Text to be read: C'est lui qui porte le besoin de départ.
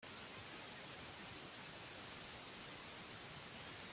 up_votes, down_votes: 0, 2